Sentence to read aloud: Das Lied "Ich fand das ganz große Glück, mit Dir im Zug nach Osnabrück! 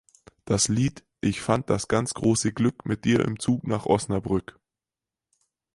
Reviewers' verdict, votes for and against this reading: accepted, 4, 0